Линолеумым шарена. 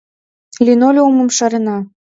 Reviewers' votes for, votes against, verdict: 2, 0, accepted